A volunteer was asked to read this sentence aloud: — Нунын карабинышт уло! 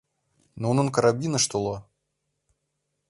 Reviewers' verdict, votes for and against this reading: accepted, 3, 0